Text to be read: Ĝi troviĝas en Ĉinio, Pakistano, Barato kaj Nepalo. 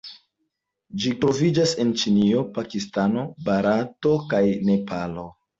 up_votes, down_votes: 2, 0